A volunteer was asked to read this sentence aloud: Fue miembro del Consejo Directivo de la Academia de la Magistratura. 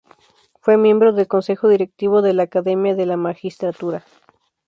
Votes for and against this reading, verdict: 2, 0, accepted